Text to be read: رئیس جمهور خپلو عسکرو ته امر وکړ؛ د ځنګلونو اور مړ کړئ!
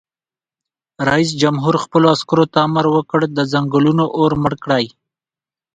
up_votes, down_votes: 2, 1